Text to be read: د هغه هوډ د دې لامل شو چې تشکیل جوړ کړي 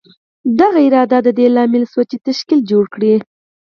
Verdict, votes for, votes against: accepted, 4, 0